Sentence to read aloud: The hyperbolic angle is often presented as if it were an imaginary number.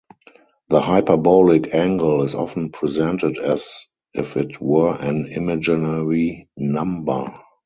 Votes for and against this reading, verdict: 2, 2, rejected